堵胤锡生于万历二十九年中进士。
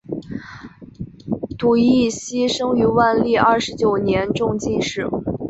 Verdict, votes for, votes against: accepted, 4, 2